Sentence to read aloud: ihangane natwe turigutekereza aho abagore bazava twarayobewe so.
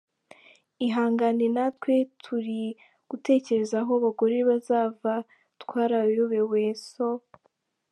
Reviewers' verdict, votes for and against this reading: accepted, 2, 1